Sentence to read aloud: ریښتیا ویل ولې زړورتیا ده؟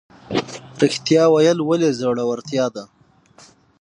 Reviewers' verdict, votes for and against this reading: accepted, 6, 0